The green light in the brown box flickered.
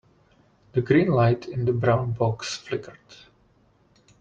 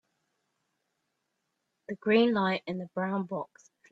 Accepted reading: first